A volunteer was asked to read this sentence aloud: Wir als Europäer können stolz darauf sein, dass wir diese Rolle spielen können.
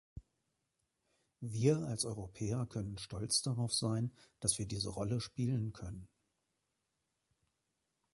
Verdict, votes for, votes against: accepted, 3, 0